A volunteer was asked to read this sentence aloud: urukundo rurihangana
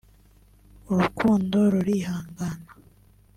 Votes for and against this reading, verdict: 2, 0, accepted